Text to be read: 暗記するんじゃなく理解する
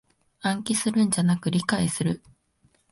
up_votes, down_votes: 2, 0